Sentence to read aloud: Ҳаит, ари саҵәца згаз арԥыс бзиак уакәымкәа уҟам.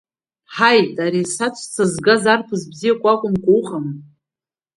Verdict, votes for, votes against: rejected, 1, 2